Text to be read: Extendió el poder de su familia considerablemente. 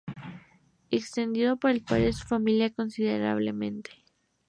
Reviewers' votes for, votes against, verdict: 0, 2, rejected